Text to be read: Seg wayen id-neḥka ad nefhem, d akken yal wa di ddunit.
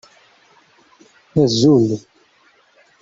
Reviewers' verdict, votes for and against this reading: rejected, 0, 2